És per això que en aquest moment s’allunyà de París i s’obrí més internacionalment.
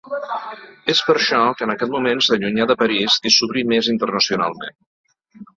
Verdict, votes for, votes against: rejected, 1, 2